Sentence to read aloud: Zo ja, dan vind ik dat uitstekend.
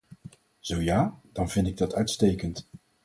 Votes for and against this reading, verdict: 4, 0, accepted